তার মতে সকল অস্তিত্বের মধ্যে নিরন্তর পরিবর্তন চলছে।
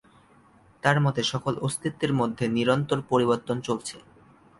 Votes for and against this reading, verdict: 2, 0, accepted